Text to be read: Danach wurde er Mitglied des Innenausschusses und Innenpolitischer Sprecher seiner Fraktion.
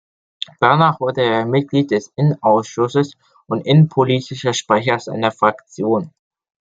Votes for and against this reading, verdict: 2, 0, accepted